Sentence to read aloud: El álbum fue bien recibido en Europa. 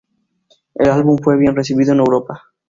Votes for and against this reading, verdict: 4, 0, accepted